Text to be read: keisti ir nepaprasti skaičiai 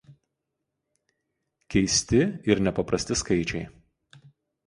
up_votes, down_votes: 2, 0